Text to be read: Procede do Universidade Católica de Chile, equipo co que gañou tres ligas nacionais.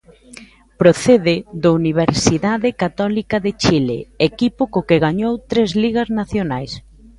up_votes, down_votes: 2, 0